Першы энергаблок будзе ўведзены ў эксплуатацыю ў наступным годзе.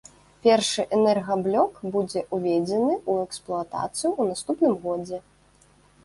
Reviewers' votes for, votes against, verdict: 1, 2, rejected